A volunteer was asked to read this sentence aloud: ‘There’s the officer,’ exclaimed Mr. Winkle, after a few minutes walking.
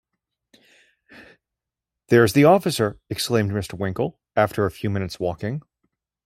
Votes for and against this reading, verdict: 2, 0, accepted